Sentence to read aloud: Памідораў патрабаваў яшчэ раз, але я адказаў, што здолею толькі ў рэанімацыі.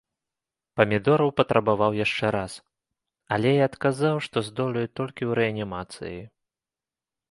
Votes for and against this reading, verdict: 2, 0, accepted